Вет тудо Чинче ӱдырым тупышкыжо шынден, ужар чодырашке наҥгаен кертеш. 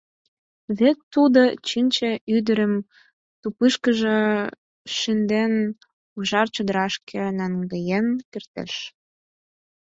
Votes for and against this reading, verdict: 4, 2, accepted